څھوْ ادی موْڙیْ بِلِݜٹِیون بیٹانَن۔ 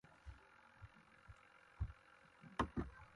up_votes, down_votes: 0, 2